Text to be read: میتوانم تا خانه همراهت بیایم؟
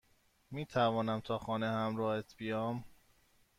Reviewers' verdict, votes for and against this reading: rejected, 1, 2